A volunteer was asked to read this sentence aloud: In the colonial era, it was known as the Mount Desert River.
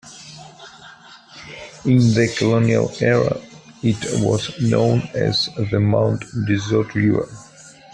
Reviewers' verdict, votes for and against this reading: rejected, 1, 2